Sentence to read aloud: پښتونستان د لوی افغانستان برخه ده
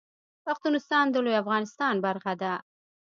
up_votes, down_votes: 3, 0